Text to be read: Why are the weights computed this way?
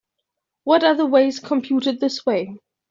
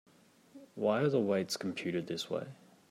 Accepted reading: second